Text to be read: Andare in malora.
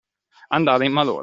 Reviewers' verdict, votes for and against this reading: accepted, 2, 0